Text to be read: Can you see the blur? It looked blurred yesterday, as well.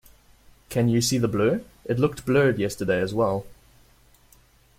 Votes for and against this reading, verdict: 2, 1, accepted